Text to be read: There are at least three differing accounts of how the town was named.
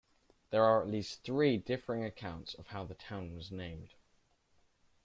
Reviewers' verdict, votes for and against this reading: accepted, 2, 0